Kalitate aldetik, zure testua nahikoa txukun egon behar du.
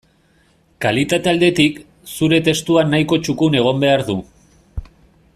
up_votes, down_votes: 2, 0